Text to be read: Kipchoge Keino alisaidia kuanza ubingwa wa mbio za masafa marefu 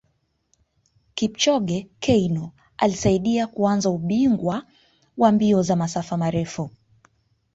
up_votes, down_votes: 0, 2